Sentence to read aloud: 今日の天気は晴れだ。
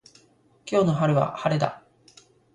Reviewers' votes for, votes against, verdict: 0, 2, rejected